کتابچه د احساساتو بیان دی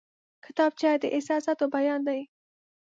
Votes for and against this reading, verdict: 2, 0, accepted